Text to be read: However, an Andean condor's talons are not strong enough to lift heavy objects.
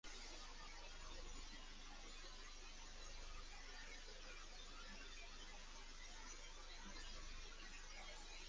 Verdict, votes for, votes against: rejected, 0, 2